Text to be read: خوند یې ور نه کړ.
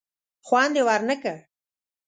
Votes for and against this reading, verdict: 2, 0, accepted